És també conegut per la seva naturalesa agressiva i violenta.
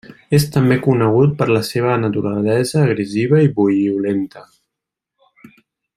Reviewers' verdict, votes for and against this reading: rejected, 0, 2